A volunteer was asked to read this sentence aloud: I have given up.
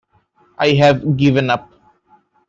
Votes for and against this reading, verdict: 1, 2, rejected